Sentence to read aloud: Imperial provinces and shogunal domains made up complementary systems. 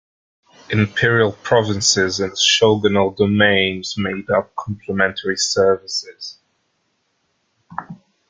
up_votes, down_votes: 0, 2